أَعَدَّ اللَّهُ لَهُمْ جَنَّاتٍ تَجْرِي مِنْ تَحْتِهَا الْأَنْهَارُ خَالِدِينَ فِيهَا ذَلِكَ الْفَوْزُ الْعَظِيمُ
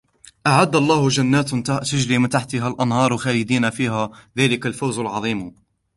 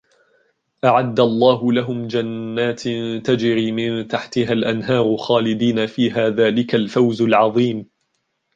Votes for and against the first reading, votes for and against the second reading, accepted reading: 1, 3, 2, 0, second